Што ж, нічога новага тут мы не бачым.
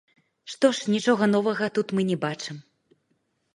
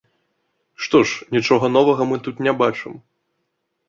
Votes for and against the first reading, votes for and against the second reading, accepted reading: 1, 2, 3, 2, second